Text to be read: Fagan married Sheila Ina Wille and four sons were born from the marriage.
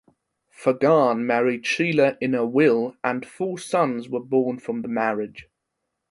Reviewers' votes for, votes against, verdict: 2, 1, accepted